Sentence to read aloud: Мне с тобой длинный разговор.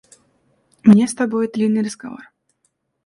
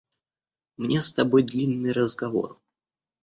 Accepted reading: second